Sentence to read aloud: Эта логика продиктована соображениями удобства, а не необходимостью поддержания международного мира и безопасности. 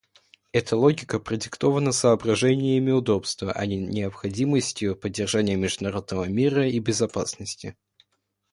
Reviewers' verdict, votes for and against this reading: accepted, 2, 0